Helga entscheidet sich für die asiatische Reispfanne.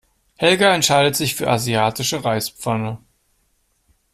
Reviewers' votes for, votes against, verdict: 0, 2, rejected